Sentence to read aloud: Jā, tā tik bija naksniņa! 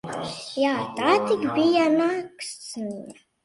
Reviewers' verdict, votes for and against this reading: rejected, 0, 2